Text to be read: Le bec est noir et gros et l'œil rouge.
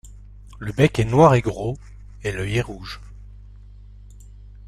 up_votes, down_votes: 0, 2